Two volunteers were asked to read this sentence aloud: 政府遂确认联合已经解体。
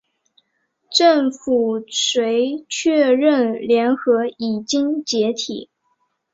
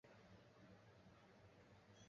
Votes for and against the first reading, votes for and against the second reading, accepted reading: 2, 1, 1, 2, first